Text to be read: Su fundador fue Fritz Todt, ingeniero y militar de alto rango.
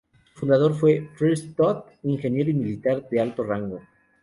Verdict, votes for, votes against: rejected, 0, 2